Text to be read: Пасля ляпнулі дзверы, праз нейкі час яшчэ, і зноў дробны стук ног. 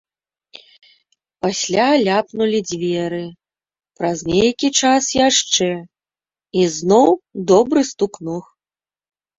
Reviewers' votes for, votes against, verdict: 0, 2, rejected